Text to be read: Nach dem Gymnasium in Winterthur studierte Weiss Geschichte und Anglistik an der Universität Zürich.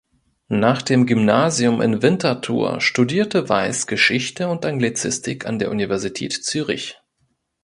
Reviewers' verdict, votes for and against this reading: rejected, 0, 2